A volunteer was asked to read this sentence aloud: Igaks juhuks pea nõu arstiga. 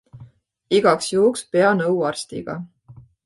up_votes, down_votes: 2, 0